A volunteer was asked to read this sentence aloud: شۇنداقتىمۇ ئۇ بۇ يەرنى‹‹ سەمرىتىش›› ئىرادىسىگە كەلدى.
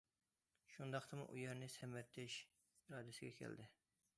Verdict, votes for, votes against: rejected, 0, 2